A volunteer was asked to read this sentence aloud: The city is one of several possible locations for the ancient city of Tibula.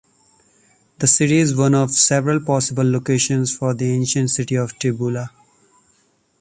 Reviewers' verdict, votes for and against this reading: accepted, 2, 0